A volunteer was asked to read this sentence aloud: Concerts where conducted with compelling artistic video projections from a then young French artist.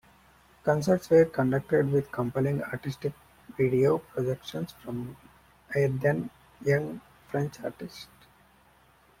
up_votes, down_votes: 0, 2